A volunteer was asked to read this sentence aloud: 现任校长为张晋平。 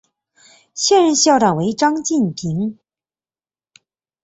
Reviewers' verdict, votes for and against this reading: accepted, 3, 2